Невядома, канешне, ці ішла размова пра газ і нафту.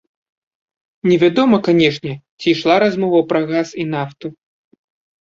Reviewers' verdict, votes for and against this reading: accepted, 2, 0